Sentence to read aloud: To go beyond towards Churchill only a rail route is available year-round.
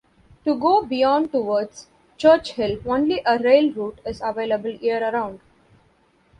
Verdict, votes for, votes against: rejected, 0, 2